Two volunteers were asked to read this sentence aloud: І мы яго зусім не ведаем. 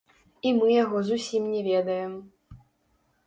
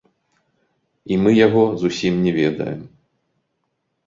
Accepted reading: second